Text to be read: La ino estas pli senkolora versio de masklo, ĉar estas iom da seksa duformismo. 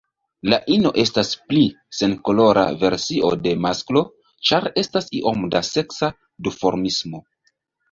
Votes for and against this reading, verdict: 2, 1, accepted